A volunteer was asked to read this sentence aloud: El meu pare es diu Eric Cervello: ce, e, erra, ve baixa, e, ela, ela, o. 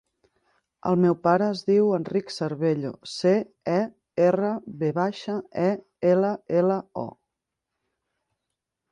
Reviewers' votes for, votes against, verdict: 1, 2, rejected